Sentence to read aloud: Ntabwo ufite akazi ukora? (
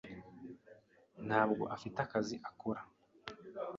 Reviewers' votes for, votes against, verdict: 0, 2, rejected